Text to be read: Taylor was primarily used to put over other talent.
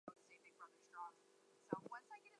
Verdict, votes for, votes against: rejected, 0, 2